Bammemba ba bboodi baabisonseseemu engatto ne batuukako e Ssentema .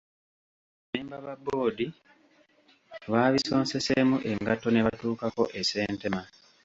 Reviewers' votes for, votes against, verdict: 0, 2, rejected